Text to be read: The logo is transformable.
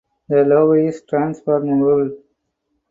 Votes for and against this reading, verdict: 0, 2, rejected